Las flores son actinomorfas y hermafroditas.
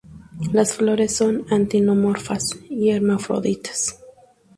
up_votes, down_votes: 0, 2